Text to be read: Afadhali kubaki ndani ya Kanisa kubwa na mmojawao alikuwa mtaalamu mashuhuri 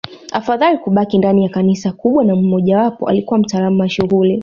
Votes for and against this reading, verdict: 0, 2, rejected